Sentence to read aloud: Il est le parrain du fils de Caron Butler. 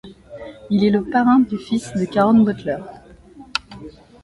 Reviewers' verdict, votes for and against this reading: accepted, 2, 0